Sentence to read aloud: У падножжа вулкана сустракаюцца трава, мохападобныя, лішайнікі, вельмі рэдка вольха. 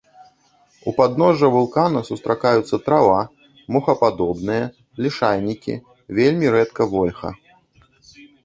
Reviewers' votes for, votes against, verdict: 1, 2, rejected